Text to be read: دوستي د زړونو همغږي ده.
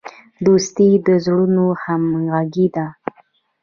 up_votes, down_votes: 0, 2